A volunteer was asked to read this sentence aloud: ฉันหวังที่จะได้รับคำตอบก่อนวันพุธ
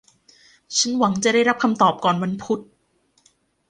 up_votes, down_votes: 1, 2